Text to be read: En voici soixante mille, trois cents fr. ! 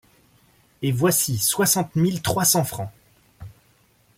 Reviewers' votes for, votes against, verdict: 0, 2, rejected